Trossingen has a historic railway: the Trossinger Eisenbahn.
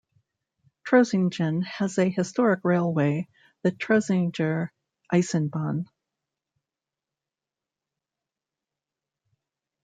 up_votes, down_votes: 1, 2